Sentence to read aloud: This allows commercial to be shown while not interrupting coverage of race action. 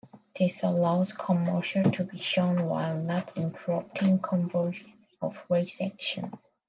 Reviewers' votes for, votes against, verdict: 0, 2, rejected